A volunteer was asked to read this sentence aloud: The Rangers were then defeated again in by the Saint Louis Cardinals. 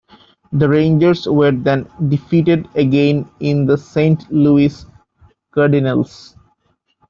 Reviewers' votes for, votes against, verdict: 0, 2, rejected